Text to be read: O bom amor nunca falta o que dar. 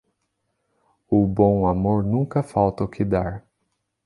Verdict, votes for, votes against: accepted, 2, 0